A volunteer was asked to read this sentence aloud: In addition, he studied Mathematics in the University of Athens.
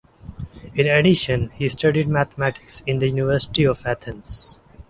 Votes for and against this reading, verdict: 2, 0, accepted